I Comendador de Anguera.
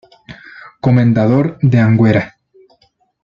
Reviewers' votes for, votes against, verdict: 1, 2, rejected